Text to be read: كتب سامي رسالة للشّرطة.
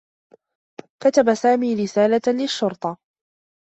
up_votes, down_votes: 2, 0